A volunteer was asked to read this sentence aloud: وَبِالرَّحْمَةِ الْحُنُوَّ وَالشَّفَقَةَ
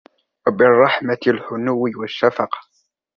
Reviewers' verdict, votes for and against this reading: rejected, 1, 2